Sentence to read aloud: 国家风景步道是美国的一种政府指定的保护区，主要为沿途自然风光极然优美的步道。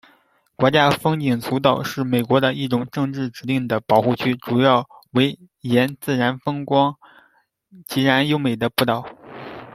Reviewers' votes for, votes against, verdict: 1, 3, rejected